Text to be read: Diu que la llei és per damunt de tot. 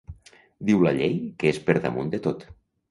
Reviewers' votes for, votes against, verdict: 0, 2, rejected